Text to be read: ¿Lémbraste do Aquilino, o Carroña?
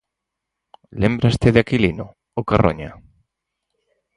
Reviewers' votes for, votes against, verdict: 2, 4, rejected